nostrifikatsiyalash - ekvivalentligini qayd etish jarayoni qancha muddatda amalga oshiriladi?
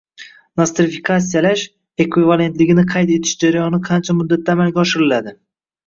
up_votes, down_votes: 0, 2